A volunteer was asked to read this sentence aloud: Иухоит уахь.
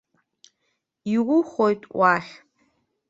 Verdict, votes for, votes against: accepted, 2, 0